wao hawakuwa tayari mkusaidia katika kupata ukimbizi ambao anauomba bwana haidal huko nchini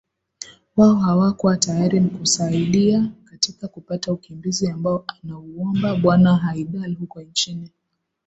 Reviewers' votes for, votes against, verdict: 6, 3, accepted